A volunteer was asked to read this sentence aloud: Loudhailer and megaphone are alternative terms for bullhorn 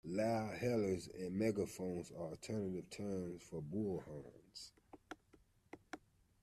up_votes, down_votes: 0, 2